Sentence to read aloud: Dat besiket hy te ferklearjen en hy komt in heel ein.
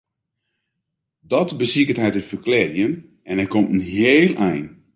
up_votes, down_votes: 2, 0